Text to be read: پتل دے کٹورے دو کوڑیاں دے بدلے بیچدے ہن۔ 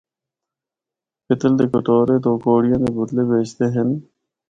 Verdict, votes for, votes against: accepted, 4, 0